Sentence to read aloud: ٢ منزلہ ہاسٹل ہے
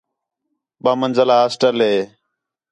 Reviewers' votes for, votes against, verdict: 0, 2, rejected